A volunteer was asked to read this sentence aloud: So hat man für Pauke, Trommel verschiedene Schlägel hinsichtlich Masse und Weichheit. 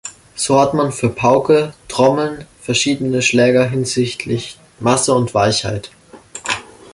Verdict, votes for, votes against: rejected, 0, 2